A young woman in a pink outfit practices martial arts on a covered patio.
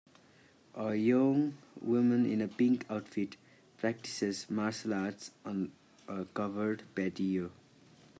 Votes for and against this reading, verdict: 2, 0, accepted